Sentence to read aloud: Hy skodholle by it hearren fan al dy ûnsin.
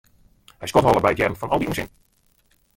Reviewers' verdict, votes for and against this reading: rejected, 0, 2